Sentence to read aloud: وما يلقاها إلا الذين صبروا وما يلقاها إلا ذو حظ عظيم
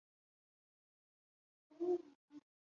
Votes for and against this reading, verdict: 1, 2, rejected